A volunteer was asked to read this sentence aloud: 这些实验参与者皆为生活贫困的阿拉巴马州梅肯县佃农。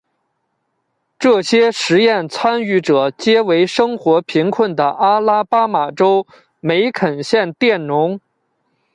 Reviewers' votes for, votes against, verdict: 2, 0, accepted